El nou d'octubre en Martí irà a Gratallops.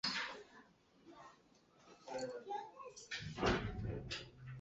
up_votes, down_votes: 2, 4